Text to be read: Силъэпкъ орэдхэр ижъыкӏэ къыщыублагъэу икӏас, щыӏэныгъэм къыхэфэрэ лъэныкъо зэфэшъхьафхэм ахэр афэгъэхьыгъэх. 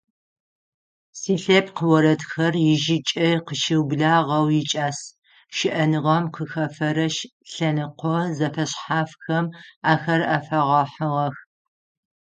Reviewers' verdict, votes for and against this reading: rejected, 3, 6